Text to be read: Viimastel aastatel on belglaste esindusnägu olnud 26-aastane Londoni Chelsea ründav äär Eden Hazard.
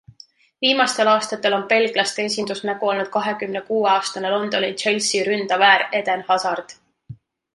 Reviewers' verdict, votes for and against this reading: rejected, 0, 2